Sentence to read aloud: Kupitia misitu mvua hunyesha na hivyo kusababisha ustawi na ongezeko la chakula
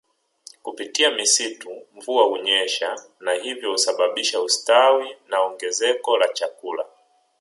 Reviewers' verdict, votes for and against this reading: rejected, 0, 2